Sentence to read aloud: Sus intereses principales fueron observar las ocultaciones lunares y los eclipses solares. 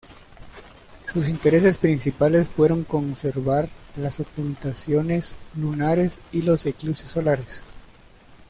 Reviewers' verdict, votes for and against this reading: rejected, 0, 2